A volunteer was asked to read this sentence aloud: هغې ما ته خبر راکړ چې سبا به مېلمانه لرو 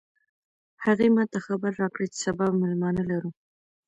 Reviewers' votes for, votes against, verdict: 2, 0, accepted